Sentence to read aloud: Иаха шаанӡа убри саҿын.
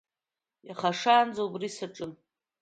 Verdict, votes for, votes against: accepted, 2, 0